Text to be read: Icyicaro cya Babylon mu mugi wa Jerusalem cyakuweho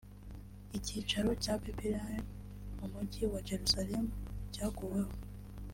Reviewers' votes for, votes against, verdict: 1, 2, rejected